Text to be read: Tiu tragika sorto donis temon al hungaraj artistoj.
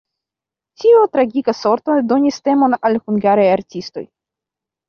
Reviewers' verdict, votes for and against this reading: rejected, 0, 2